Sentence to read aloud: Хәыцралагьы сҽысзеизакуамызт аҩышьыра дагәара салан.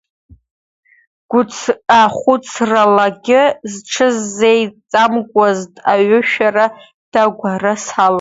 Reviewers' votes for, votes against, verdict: 0, 2, rejected